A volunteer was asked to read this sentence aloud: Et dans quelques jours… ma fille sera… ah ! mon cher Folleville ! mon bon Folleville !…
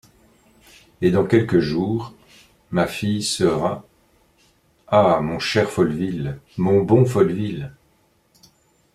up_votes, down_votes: 2, 1